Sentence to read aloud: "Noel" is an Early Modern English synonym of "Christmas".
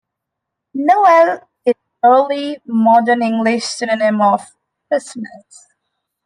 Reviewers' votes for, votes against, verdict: 0, 2, rejected